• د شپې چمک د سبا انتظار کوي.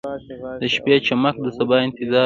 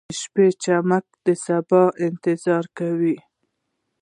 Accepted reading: second